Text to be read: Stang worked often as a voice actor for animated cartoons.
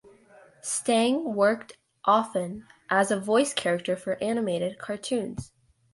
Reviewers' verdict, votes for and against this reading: rejected, 1, 2